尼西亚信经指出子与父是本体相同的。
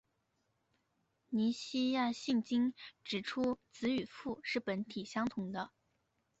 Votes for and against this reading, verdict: 0, 2, rejected